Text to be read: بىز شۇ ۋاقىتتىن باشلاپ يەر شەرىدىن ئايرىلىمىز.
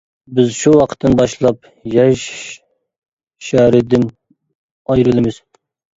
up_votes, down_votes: 0, 2